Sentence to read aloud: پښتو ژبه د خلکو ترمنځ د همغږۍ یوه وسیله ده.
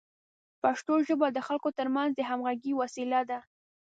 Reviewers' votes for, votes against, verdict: 1, 2, rejected